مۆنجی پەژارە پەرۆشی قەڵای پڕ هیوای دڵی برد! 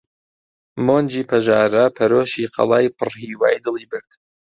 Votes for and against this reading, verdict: 2, 0, accepted